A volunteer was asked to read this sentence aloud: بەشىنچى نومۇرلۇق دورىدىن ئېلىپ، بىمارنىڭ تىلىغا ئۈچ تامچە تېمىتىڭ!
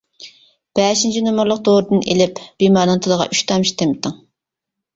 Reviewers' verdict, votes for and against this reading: accepted, 2, 0